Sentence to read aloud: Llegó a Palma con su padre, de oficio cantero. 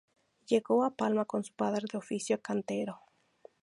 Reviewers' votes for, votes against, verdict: 0, 2, rejected